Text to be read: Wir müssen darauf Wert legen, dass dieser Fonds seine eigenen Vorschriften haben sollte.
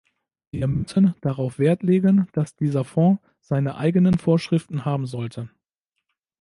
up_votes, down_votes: 0, 2